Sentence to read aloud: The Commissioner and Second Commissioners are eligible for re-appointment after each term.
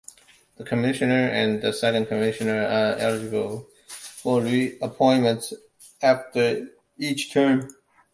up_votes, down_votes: 0, 2